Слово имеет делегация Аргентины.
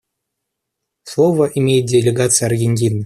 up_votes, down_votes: 1, 2